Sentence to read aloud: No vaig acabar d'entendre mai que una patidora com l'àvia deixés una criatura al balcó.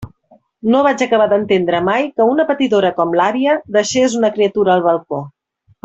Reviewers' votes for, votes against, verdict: 3, 0, accepted